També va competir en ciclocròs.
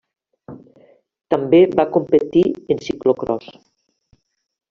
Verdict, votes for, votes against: accepted, 3, 1